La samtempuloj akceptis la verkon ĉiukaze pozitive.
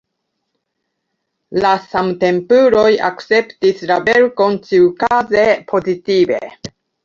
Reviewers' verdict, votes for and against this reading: accepted, 3, 1